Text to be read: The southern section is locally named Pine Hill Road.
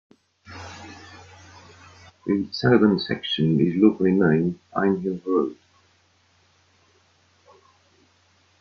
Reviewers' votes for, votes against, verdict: 1, 2, rejected